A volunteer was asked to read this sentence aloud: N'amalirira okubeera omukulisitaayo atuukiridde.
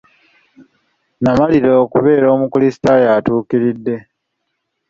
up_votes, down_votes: 2, 1